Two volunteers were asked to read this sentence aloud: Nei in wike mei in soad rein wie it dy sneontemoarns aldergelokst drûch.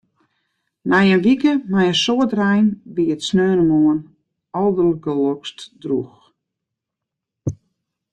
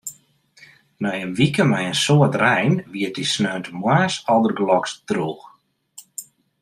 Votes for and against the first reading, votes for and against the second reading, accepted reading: 0, 2, 2, 0, second